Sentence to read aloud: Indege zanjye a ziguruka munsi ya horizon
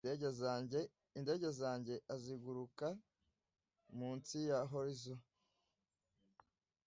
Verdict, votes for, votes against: rejected, 0, 2